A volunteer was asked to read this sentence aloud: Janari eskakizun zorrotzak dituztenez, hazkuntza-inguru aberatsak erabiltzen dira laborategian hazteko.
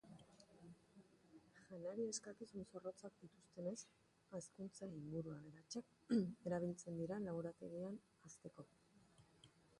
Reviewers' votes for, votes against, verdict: 1, 3, rejected